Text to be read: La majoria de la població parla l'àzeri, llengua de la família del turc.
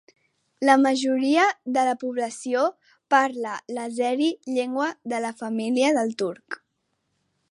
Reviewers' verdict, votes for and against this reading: accepted, 2, 0